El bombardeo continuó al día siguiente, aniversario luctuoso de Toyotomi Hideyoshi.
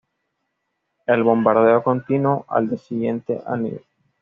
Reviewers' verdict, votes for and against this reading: rejected, 1, 2